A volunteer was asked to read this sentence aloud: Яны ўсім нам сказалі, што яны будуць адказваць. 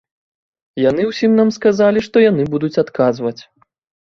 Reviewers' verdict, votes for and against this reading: accepted, 2, 0